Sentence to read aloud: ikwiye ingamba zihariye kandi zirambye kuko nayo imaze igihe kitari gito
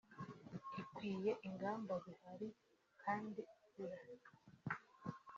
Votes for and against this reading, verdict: 0, 2, rejected